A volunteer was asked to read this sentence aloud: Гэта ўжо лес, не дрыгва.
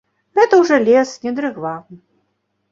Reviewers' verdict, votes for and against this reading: accepted, 2, 0